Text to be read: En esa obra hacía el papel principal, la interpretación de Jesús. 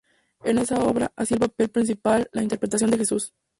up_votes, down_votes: 2, 0